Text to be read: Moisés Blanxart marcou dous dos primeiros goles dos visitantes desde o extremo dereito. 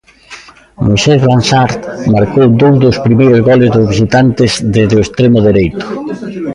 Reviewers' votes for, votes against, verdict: 1, 2, rejected